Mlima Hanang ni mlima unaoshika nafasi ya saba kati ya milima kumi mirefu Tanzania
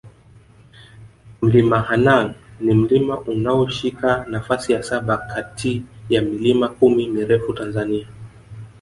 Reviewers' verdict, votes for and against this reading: rejected, 1, 2